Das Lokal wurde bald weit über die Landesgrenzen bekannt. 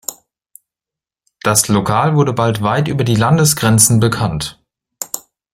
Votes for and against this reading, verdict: 2, 0, accepted